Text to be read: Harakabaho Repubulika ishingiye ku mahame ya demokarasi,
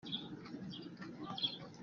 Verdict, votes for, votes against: rejected, 0, 2